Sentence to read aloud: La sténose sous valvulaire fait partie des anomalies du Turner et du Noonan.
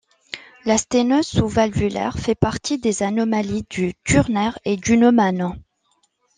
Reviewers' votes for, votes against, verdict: 1, 2, rejected